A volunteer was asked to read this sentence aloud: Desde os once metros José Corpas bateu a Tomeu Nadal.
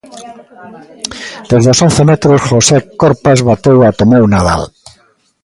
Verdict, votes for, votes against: rejected, 1, 2